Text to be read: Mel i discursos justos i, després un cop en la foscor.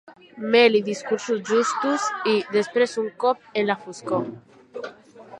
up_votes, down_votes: 1, 2